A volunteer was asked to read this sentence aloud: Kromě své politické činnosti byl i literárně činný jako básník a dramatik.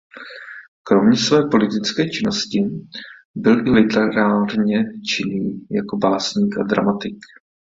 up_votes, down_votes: 0, 2